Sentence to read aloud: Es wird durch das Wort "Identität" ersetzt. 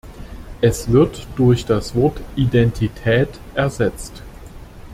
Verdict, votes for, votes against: accepted, 2, 1